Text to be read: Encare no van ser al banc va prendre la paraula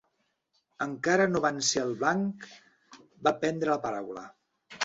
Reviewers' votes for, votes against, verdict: 2, 0, accepted